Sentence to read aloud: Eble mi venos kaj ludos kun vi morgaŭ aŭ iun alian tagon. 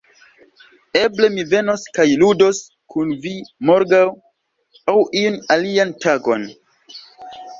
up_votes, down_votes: 2, 0